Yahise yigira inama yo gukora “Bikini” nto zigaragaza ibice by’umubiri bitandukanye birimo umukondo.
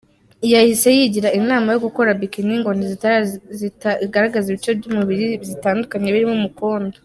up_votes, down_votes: 0, 2